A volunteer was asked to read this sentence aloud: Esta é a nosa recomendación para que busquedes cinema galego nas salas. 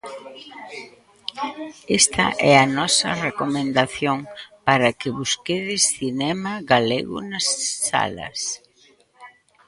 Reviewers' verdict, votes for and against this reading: rejected, 1, 2